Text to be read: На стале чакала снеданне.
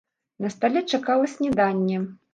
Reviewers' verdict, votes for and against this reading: rejected, 0, 2